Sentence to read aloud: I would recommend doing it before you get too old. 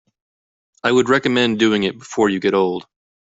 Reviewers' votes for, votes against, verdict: 1, 2, rejected